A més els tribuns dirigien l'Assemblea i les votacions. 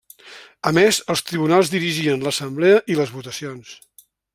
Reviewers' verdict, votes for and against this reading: rejected, 0, 2